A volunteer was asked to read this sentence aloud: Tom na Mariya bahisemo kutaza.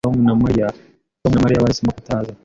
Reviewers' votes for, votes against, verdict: 1, 2, rejected